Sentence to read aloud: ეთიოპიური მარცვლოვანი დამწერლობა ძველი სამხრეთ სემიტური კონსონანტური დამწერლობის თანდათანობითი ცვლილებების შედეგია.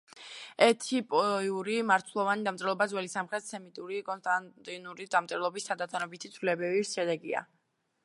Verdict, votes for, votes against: rejected, 0, 2